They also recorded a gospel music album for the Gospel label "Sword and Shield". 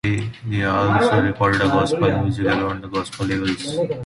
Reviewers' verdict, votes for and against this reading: rejected, 0, 2